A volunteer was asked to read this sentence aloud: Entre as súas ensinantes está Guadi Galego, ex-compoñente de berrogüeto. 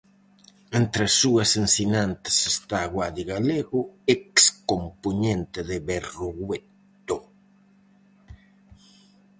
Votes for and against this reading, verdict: 2, 2, rejected